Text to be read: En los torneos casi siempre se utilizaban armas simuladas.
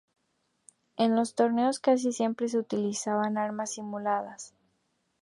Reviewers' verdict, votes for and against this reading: accepted, 2, 0